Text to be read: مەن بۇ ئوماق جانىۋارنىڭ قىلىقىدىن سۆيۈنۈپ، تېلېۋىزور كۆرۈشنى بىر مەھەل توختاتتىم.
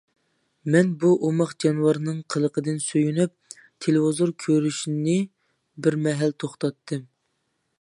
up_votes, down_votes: 2, 0